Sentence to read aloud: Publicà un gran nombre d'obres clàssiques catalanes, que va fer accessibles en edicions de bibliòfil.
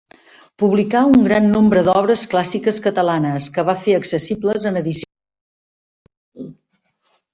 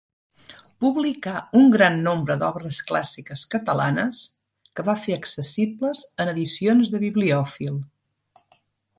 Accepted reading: second